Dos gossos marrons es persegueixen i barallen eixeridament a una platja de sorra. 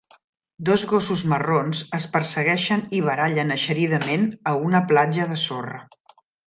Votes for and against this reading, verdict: 3, 0, accepted